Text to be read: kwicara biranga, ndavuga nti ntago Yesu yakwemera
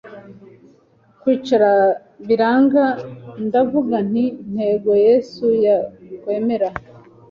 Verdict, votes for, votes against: rejected, 1, 2